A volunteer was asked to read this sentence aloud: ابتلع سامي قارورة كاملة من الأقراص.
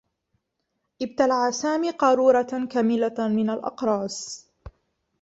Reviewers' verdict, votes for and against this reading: rejected, 1, 2